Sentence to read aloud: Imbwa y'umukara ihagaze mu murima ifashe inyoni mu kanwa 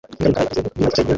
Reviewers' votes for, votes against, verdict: 0, 2, rejected